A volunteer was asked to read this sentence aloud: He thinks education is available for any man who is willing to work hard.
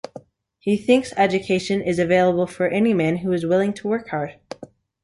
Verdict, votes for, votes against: accepted, 2, 0